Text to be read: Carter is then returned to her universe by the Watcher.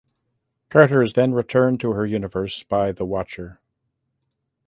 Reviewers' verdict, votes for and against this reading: accepted, 2, 0